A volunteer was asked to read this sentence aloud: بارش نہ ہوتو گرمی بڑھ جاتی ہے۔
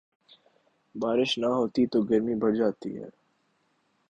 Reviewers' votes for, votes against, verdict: 0, 2, rejected